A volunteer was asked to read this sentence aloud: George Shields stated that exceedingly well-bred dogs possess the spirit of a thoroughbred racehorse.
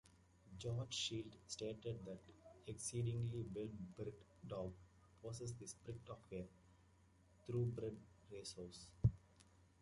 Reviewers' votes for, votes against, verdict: 0, 2, rejected